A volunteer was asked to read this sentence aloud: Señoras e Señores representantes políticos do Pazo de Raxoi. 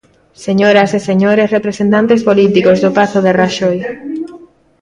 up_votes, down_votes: 2, 0